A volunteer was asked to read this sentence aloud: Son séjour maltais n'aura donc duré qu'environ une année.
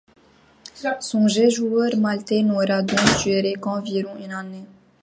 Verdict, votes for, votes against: rejected, 0, 2